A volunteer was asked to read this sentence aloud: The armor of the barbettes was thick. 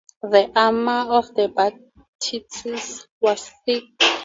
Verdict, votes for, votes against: rejected, 0, 4